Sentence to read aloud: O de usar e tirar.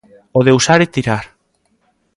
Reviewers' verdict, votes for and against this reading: accepted, 2, 0